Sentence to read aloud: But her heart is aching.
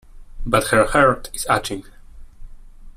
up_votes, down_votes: 0, 2